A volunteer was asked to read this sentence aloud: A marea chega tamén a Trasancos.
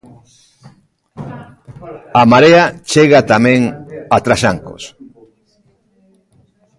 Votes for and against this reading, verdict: 0, 2, rejected